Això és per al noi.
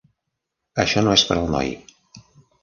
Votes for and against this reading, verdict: 1, 2, rejected